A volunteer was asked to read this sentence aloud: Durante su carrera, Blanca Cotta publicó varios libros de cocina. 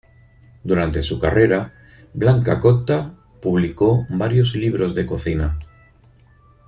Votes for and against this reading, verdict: 4, 0, accepted